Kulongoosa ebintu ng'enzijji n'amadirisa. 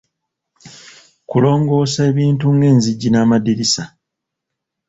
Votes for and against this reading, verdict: 2, 0, accepted